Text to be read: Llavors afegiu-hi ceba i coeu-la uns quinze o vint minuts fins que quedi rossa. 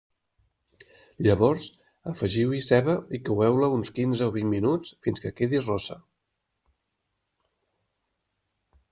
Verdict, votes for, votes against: accepted, 2, 0